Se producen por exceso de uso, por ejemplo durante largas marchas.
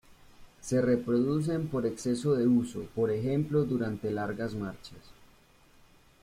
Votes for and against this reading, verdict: 0, 2, rejected